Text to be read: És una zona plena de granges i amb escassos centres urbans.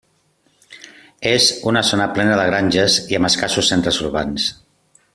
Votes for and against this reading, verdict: 3, 0, accepted